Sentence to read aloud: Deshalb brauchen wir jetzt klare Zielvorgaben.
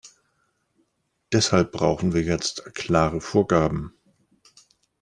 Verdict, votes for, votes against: rejected, 0, 2